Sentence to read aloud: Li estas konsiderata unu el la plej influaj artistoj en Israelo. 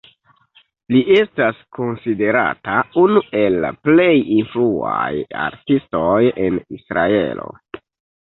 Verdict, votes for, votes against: accepted, 2, 0